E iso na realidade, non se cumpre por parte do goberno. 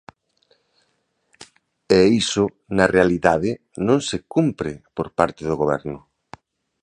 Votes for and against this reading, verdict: 2, 0, accepted